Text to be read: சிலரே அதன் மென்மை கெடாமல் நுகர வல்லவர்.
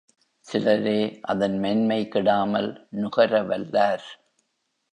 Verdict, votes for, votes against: rejected, 1, 3